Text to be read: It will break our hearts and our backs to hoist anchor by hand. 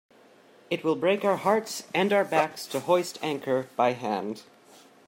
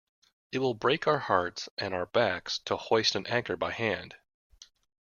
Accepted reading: first